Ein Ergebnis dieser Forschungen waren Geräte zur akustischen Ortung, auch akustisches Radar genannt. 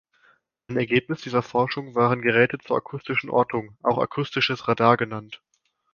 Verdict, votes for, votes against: rejected, 1, 2